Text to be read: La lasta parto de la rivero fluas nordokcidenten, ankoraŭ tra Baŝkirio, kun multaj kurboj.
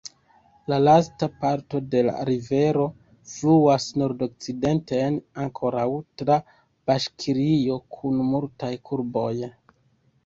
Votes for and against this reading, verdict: 2, 1, accepted